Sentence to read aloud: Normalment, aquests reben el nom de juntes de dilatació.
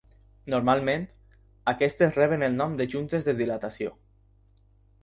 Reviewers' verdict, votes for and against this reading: rejected, 2, 4